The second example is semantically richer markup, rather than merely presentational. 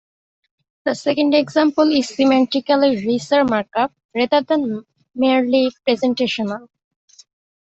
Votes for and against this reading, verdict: 0, 2, rejected